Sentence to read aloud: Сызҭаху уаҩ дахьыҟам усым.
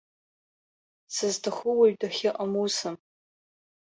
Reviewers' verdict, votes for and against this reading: accepted, 2, 0